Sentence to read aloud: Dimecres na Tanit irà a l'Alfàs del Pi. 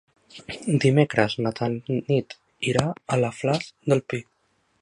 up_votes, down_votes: 0, 3